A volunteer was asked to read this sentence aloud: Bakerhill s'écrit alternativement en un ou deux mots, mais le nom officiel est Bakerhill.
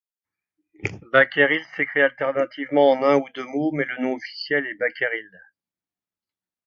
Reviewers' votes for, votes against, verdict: 2, 0, accepted